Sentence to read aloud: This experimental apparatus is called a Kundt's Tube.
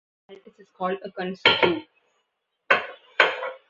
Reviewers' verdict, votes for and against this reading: rejected, 0, 2